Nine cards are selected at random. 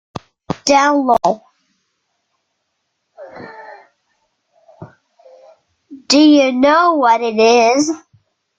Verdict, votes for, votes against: rejected, 0, 2